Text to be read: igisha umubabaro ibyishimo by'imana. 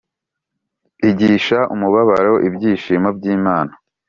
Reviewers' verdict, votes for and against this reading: accepted, 3, 0